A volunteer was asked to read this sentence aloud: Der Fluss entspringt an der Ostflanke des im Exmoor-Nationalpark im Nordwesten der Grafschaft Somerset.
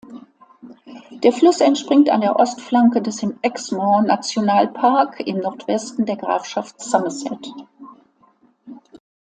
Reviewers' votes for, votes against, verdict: 2, 0, accepted